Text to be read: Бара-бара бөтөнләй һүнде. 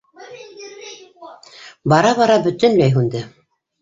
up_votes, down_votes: 0, 2